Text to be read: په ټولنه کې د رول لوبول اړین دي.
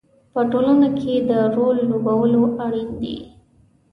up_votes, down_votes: 2, 0